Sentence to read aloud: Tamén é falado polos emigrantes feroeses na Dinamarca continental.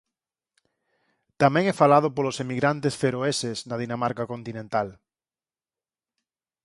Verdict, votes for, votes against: accepted, 6, 0